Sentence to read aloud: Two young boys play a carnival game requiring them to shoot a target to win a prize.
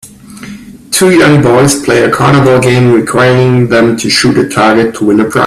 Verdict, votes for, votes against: rejected, 0, 2